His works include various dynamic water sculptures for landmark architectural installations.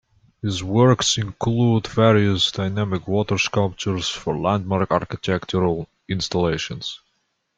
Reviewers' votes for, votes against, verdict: 2, 1, accepted